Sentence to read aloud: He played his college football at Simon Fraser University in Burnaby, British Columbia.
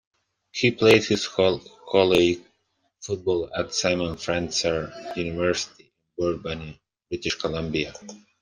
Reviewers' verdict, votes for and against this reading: rejected, 0, 2